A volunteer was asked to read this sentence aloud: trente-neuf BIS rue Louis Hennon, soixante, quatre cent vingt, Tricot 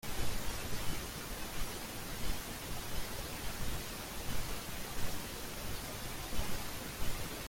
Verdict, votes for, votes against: rejected, 0, 2